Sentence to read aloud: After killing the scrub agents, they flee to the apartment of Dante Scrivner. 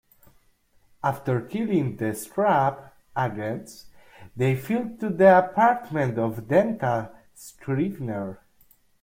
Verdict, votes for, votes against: rejected, 1, 2